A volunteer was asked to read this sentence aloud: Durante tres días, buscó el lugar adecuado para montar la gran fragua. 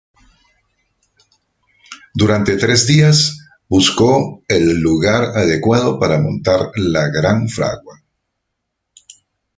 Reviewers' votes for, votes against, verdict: 1, 2, rejected